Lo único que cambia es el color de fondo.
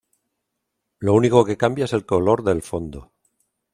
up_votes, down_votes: 0, 2